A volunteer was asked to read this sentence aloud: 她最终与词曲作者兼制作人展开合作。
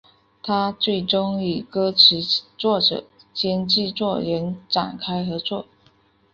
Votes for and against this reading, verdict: 1, 2, rejected